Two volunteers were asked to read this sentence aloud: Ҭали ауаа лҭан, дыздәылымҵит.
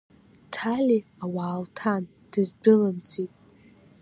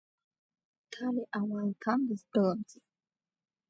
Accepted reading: first